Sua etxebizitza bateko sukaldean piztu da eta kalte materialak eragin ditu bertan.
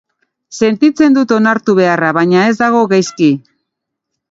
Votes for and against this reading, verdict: 0, 3, rejected